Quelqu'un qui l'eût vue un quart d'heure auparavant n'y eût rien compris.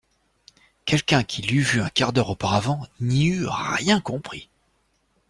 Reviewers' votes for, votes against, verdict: 2, 0, accepted